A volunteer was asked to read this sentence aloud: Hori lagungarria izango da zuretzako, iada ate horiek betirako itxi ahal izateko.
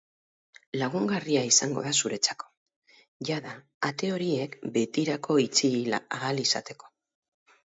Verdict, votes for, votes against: rejected, 0, 4